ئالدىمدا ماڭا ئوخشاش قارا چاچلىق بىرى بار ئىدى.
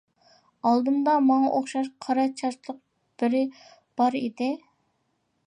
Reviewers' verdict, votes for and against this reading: accepted, 2, 0